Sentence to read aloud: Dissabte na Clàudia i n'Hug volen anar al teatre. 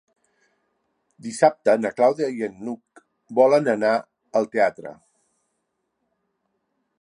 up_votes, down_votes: 2, 1